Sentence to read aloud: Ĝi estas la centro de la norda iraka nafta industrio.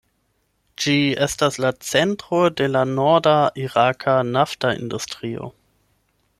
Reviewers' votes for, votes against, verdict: 8, 4, accepted